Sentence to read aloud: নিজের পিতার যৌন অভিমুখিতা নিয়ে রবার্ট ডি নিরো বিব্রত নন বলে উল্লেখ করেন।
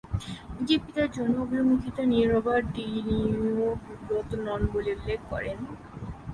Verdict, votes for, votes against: rejected, 0, 3